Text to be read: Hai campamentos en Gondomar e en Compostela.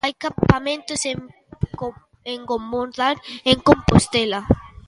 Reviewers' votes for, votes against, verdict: 0, 2, rejected